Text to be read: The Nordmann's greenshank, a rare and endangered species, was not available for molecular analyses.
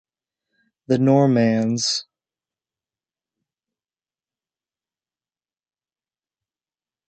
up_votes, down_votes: 0, 2